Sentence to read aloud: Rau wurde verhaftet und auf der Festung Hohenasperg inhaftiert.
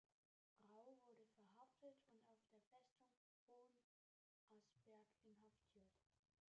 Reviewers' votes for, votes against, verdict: 0, 2, rejected